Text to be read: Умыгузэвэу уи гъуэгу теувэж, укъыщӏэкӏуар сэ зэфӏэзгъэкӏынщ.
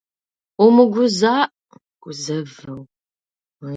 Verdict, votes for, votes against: rejected, 0, 2